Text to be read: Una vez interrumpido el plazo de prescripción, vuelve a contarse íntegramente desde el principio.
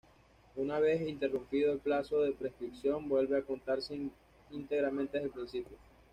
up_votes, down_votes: 1, 2